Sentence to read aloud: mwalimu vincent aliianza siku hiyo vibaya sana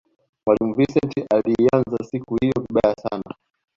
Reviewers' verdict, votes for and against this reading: accepted, 2, 1